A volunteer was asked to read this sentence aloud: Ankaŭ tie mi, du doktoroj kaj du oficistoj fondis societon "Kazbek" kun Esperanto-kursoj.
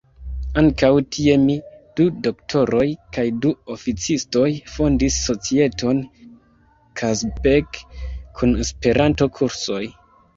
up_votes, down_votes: 1, 2